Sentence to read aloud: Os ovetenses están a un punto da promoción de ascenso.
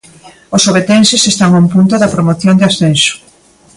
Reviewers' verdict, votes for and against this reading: accepted, 2, 0